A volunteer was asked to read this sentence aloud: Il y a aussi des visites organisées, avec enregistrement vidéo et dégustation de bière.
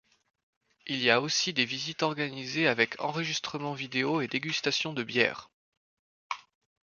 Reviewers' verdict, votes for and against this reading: accepted, 2, 0